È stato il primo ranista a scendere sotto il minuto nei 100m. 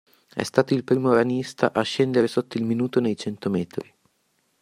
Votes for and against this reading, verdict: 0, 2, rejected